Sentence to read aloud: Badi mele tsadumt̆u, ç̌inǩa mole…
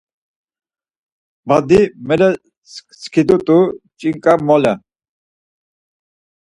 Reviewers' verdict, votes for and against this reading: rejected, 0, 4